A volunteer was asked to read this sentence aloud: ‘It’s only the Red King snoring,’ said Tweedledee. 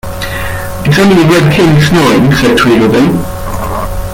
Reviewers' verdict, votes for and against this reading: rejected, 1, 2